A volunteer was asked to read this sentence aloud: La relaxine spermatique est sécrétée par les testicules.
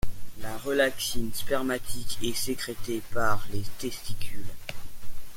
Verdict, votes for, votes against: accepted, 2, 1